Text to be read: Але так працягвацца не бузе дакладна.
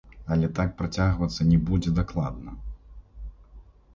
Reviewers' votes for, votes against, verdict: 1, 2, rejected